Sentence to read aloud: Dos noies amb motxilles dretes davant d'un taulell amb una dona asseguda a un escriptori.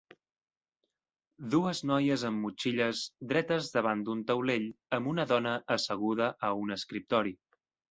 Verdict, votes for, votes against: rejected, 1, 2